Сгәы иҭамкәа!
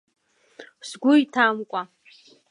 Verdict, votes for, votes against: accepted, 2, 1